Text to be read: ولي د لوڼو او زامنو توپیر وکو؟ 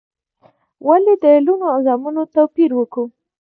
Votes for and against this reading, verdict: 2, 0, accepted